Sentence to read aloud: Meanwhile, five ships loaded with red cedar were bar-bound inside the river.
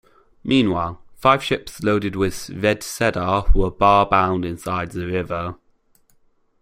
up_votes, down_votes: 2, 1